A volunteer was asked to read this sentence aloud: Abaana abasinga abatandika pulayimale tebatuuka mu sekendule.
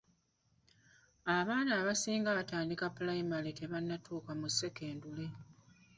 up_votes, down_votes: 0, 2